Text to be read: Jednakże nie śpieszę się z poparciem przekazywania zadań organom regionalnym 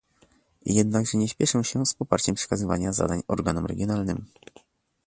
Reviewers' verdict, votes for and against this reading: rejected, 1, 2